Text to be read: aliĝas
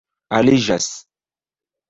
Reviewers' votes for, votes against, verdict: 1, 2, rejected